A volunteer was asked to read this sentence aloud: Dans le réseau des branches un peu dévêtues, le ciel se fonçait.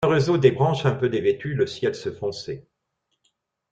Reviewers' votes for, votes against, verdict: 1, 2, rejected